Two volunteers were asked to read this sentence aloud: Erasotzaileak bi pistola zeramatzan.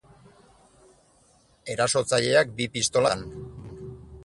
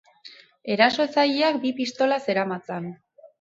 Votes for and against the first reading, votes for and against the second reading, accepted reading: 0, 6, 4, 0, second